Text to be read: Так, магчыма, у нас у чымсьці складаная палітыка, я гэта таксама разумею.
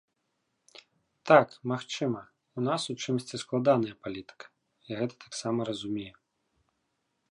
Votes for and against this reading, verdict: 3, 0, accepted